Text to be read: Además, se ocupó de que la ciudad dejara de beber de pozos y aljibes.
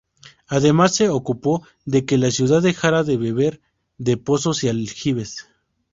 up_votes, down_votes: 2, 0